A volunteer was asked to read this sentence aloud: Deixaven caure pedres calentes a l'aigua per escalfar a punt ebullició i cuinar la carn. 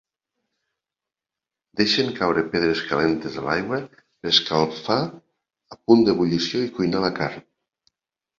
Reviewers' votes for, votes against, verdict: 0, 2, rejected